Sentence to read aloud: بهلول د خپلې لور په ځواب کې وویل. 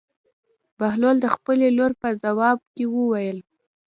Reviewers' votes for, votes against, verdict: 1, 2, rejected